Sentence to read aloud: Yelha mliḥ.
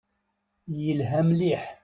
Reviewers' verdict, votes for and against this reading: accepted, 2, 0